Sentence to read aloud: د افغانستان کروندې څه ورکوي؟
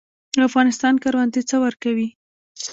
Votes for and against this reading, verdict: 1, 2, rejected